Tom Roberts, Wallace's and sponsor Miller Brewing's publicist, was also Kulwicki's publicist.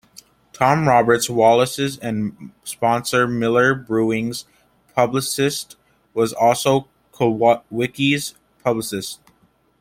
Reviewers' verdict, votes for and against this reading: rejected, 1, 2